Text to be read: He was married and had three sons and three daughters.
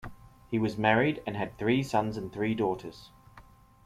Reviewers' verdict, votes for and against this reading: accepted, 2, 0